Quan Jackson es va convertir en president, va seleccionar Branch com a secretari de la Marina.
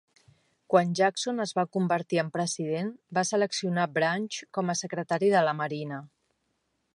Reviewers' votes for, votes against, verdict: 3, 1, accepted